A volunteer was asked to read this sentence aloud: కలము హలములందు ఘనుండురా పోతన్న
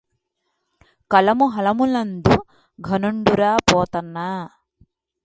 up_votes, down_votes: 2, 0